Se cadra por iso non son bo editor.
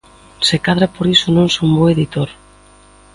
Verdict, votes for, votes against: accepted, 2, 0